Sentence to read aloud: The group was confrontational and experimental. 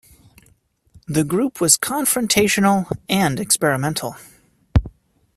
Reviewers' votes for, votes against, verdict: 2, 0, accepted